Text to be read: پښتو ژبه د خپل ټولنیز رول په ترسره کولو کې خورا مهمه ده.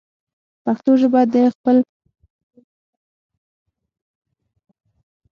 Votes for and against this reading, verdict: 0, 6, rejected